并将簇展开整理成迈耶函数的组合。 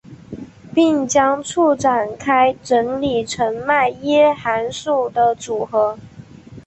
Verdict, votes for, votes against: accepted, 3, 1